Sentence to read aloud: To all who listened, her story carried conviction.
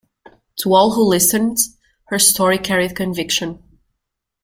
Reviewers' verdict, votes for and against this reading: accepted, 2, 0